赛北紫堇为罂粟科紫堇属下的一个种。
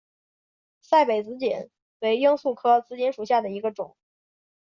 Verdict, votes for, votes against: accepted, 2, 0